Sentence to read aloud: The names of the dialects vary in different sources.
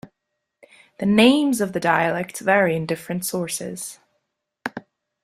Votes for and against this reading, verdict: 2, 0, accepted